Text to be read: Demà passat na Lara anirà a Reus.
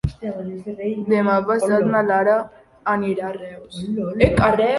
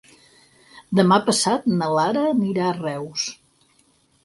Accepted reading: second